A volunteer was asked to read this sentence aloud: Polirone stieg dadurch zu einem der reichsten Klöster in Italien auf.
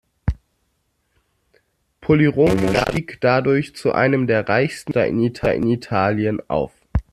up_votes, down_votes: 0, 2